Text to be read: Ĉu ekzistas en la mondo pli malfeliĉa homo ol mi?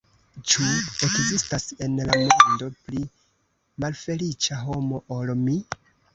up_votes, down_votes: 0, 2